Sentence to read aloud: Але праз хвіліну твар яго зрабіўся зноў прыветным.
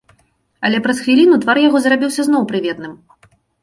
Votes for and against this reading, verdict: 2, 0, accepted